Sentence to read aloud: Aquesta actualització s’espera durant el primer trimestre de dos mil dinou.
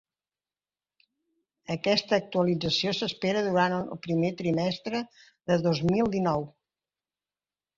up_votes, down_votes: 2, 0